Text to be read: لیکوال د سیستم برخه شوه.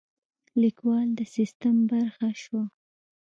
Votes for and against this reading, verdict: 2, 0, accepted